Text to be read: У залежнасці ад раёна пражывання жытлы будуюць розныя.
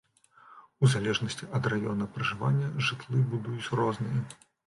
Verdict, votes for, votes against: accepted, 2, 0